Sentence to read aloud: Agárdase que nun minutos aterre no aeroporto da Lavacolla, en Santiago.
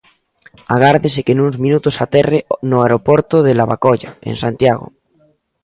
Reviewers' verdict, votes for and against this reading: rejected, 0, 2